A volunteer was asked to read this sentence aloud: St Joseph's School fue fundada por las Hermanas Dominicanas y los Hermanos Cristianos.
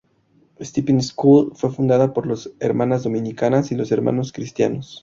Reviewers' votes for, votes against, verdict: 0, 2, rejected